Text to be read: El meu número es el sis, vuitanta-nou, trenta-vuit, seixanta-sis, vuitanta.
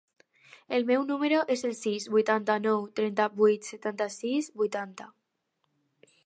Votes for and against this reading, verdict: 0, 2, rejected